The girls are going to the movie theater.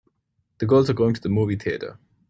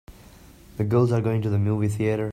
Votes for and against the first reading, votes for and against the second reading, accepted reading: 3, 1, 1, 2, first